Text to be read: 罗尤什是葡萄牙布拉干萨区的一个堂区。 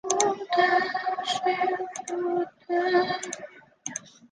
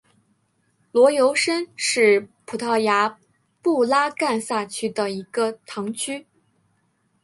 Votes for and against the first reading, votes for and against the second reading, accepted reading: 0, 2, 5, 0, second